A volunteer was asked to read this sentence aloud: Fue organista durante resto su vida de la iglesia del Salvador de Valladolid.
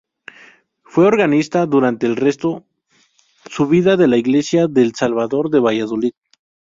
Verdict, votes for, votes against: rejected, 0, 2